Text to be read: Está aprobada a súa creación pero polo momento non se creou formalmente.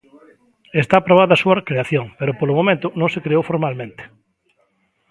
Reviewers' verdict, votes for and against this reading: rejected, 0, 2